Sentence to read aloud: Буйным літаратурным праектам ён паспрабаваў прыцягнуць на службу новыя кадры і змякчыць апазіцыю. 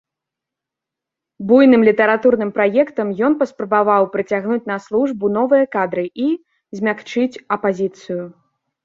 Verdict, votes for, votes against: rejected, 1, 2